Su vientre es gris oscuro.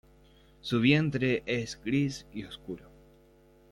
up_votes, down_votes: 0, 2